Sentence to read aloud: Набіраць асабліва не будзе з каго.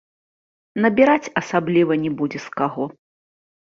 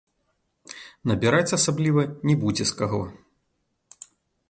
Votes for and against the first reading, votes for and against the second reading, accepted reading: 2, 0, 0, 2, first